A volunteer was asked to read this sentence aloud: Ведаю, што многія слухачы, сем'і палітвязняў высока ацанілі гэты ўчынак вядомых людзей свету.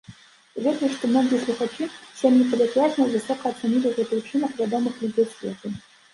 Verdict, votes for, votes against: accepted, 2, 0